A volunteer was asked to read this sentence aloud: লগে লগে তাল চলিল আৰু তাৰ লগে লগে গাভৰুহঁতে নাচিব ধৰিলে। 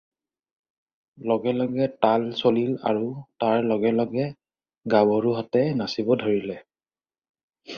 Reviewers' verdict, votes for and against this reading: accepted, 4, 0